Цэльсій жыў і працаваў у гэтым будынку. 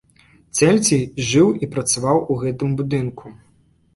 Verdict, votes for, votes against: accepted, 2, 0